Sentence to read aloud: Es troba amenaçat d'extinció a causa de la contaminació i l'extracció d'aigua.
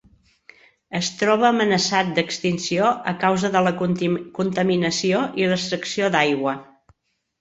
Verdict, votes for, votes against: rejected, 1, 2